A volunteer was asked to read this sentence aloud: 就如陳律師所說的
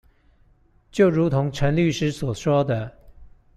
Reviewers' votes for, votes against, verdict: 1, 2, rejected